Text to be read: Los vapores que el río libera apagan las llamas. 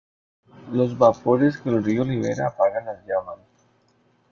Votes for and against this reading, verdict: 2, 1, accepted